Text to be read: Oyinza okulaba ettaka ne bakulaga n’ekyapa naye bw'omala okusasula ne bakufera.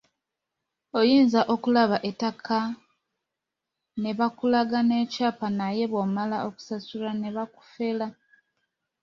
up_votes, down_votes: 2, 0